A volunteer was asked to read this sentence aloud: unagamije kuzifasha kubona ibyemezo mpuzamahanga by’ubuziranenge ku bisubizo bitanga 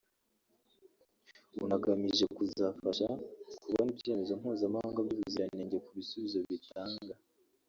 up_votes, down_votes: 1, 2